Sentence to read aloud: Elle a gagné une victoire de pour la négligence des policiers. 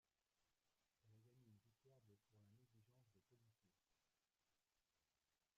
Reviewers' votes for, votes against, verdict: 1, 2, rejected